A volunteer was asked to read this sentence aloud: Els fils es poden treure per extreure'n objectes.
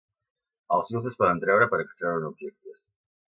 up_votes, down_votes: 2, 0